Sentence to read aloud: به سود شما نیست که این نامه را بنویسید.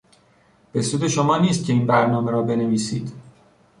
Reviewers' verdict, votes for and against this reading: rejected, 0, 2